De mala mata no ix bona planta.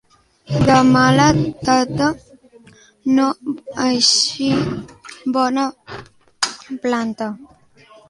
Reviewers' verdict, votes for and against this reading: rejected, 0, 2